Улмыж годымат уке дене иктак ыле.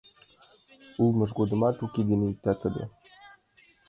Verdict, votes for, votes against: rejected, 0, 2